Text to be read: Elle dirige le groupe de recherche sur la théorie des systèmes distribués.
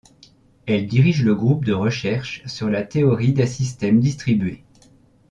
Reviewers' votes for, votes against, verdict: 2, 0, accepted